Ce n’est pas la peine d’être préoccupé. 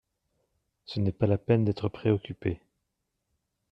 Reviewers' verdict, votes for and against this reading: accepted, 3, 0